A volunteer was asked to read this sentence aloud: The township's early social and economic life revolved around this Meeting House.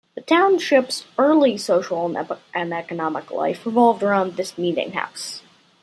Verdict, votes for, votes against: accepted, 2, 1